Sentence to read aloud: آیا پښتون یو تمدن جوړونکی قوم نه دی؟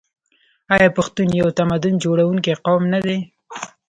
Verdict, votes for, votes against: accepted, 2, 0